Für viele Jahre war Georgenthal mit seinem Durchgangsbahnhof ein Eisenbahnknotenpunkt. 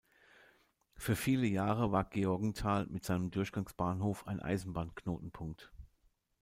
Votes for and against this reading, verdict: 2, 0, accepted